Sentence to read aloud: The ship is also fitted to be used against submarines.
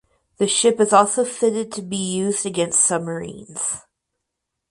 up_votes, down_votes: 4, 0